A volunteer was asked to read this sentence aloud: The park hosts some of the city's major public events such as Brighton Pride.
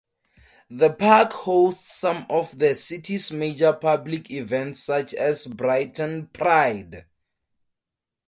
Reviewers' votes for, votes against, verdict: 2, 0, accepted